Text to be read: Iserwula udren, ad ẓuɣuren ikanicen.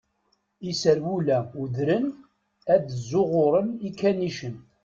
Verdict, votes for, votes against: accepted, 2, 0